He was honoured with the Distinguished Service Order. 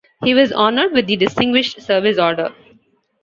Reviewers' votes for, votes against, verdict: 2, 0, accepted